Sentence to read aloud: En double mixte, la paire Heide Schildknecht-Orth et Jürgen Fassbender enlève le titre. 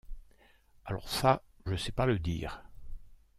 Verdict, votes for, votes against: rejected, 0, 2